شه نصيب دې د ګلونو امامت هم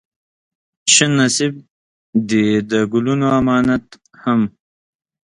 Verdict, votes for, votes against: accepted, 2, 0